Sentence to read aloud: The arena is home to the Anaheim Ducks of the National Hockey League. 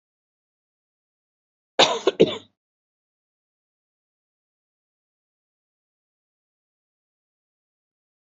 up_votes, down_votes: 0, 2